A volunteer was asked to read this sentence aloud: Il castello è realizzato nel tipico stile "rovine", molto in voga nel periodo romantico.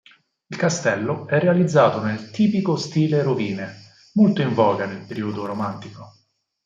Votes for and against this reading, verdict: 4, 0, accepted